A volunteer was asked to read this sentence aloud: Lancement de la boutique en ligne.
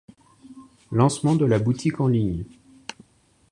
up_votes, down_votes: 2, 0